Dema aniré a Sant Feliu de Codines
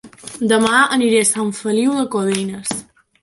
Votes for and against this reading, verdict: 2, 0, accepted